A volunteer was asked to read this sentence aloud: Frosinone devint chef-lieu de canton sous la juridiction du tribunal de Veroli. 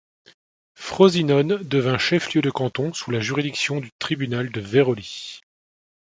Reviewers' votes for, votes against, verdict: 2, 0, accepted